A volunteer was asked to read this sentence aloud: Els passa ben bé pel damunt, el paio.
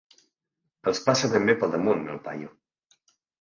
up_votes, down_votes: 3, 0